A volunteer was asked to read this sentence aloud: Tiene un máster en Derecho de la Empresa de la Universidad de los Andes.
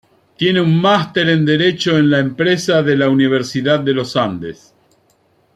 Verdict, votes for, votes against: rejected, 0, 2